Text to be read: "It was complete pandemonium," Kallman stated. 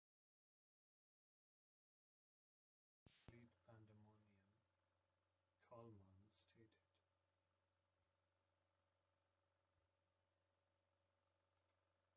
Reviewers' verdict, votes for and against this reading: rejected, 0, 2